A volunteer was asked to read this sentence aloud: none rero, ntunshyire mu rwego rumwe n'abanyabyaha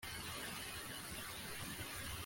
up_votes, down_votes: 1, 2